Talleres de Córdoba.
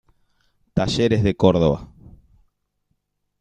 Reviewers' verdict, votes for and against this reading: rejected, 0, 2